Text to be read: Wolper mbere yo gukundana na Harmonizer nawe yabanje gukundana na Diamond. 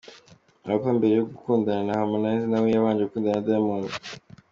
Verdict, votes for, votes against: accepted, 2, 0